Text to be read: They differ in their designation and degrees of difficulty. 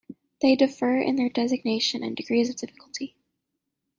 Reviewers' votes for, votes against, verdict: 2, 0, accepted